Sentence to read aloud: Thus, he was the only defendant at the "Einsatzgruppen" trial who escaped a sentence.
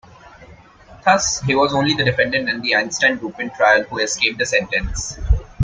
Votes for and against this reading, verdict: 1, 2, rejected